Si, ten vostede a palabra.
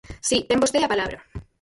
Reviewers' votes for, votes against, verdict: 0, 4, rejected